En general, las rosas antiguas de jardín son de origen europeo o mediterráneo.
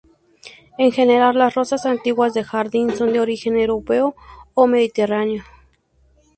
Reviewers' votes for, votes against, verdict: 2, 0, accepted